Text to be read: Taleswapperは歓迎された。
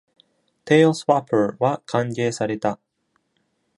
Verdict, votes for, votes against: accepted, 2, 0